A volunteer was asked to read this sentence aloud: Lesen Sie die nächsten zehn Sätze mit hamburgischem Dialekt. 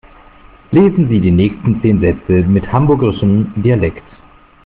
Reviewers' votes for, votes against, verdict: 2, 0, accepted